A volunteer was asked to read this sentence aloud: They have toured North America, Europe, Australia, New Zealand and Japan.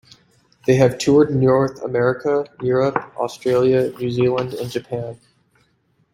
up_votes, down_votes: 2, 0